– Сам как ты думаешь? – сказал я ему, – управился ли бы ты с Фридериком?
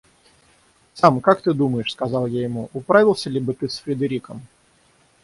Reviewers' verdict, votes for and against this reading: rejected, 0, 6